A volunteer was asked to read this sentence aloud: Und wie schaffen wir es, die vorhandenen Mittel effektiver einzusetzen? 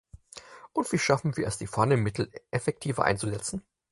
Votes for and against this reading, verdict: 2, 4, rejected